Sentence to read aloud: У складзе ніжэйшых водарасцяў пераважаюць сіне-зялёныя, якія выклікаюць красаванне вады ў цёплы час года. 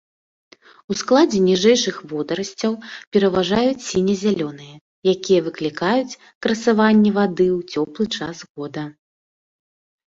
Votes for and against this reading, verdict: 3, 0, accepted